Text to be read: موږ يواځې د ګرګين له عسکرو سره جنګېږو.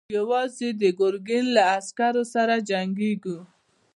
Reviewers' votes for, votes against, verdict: 2, 0, accepted